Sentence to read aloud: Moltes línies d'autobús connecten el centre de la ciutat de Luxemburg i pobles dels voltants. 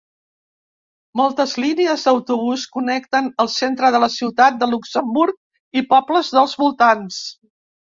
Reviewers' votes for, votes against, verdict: 3, 0, accepted